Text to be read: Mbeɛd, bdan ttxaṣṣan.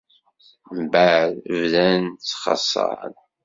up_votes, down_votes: 2, 0